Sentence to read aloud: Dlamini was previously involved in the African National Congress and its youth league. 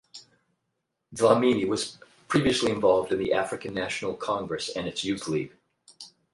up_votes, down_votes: 4, 0